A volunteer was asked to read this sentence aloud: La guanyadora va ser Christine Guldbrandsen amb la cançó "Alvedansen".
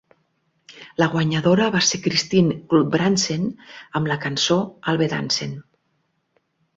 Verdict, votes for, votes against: accepted, 4, 0